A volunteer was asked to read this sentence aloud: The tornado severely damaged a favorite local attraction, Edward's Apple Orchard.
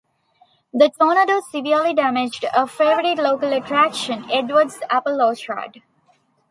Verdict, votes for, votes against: rejected, 1, 2